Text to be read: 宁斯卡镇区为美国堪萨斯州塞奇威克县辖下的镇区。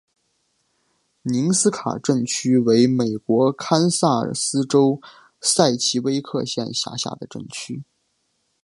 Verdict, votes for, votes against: accepted, 3, 1